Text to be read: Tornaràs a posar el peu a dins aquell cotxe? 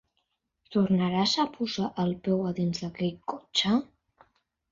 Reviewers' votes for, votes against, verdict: 1, 2, rejected